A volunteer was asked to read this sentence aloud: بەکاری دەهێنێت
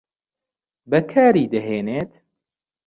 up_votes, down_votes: 2, 0